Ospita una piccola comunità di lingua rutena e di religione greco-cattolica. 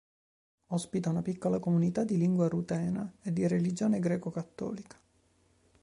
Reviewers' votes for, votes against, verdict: 3, 0, accepted